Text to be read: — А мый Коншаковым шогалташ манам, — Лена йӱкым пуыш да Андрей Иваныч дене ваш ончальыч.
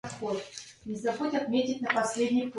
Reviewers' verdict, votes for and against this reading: rejected, 0, 2